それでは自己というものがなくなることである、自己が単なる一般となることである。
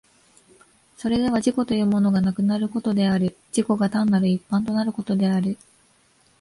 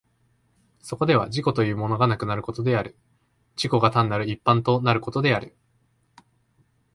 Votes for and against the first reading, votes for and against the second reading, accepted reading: 2, 0, 1, 2, first